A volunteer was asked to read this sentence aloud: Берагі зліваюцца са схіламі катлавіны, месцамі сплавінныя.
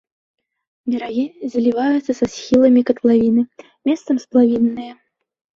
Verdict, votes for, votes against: rejected, 0, 2